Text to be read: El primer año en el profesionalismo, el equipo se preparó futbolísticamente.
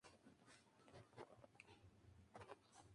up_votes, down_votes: 0, 2